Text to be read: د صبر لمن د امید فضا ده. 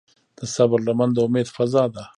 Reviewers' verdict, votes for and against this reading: rejected, 1, 2